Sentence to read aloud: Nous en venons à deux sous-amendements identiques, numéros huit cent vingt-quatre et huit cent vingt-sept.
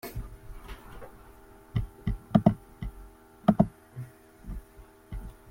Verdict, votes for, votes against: rejected, 0, 2